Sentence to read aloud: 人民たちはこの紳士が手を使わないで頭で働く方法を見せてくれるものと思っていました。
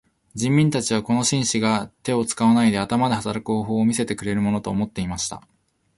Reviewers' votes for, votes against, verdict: 1, 2, rejected